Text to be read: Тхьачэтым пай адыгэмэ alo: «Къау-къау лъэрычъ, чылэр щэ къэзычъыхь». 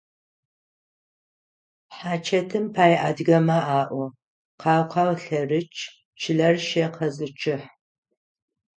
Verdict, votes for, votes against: accepted, 6, 0